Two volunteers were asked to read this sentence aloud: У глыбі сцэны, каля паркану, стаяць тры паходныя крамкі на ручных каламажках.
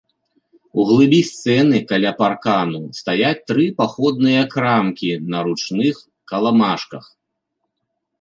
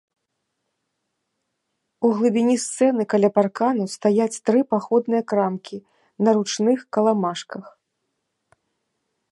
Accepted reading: first